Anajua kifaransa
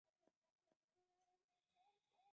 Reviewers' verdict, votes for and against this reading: rejected, 0, 2